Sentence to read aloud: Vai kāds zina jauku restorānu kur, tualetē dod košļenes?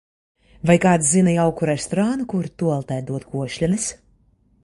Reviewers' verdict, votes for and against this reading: accepted, 2, 0